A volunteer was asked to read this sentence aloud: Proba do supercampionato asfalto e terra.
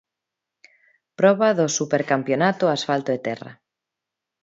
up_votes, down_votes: 2, 0